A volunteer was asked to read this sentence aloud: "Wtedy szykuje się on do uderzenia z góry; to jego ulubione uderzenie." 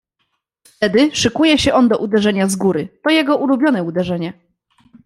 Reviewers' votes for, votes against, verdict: 1, 2, rejected